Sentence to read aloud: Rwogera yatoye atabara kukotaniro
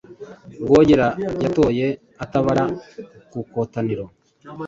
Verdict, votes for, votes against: accepted, 2, 0